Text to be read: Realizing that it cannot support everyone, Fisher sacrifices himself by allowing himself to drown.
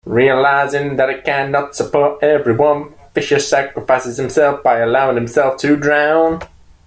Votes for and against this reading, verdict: 0, 2, rejected